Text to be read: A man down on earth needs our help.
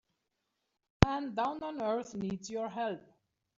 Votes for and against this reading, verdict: 0, 3, rejected